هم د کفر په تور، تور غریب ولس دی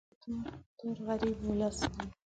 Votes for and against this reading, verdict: 1, 6, rejected